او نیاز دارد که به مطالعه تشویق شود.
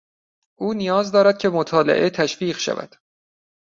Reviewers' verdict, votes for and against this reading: rejected, 1, 2